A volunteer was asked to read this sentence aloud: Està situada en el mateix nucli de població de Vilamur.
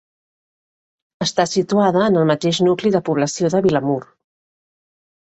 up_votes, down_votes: 3, 0